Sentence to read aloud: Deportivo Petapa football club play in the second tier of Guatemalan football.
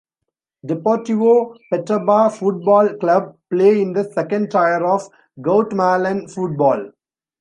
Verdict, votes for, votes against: accepted, 2, 1